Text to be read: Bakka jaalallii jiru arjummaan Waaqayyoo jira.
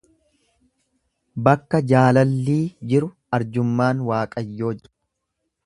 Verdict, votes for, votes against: rejected, 1, 2